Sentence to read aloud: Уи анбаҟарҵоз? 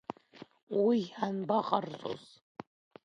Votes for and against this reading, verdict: 1, 2, rejected